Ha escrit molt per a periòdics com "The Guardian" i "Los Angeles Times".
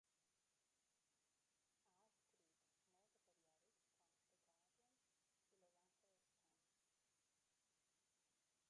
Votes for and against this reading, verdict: 0, 2, rejected